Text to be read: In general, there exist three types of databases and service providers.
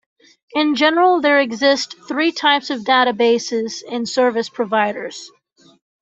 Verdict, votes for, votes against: accepted, 2, 0